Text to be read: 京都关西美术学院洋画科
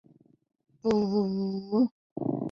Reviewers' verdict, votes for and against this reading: rejected, 0, 2